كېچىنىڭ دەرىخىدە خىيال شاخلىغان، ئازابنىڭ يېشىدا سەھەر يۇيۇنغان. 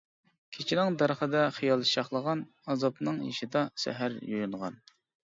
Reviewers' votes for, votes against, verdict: 2, 0, accepted